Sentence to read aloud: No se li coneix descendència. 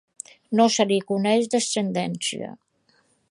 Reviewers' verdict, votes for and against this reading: accepted, 2, 0